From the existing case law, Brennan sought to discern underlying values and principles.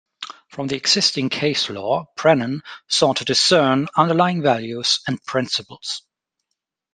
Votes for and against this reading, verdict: 2, 0, accepted